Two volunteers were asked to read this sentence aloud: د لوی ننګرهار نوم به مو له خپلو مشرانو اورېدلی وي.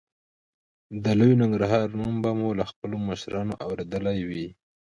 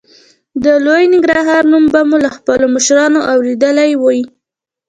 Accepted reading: first